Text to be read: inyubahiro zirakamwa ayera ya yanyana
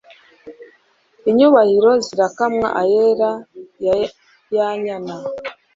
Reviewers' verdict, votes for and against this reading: rejected, 1, 2